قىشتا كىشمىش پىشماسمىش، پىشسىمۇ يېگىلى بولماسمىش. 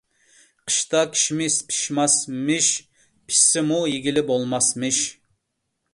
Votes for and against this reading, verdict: 0, 2, rejected